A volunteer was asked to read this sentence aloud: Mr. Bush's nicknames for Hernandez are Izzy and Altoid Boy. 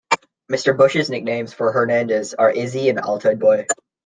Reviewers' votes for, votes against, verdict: 2, 0, accepted